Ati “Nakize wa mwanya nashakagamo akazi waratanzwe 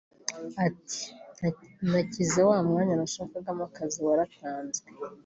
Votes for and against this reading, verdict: 1, 2, rejected